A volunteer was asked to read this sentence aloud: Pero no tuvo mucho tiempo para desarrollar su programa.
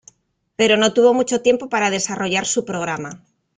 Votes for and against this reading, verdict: 2, 0, accepted